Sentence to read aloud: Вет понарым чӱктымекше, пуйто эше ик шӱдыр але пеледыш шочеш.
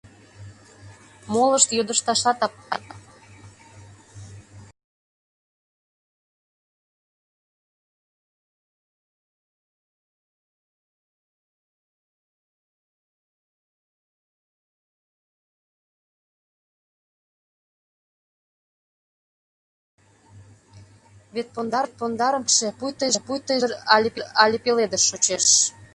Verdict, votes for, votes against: rejected, 0, 2